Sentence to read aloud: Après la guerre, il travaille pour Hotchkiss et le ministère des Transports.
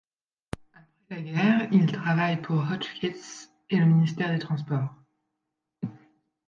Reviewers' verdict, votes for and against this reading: accepted, 2, 1